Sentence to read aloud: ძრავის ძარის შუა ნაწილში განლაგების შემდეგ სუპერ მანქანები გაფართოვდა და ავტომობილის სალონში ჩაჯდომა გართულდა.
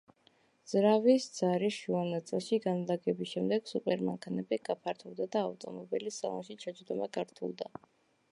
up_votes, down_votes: 1, 2